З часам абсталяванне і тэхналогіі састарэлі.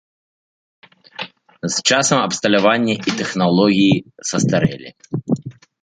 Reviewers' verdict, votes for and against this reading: accepted, 2, 1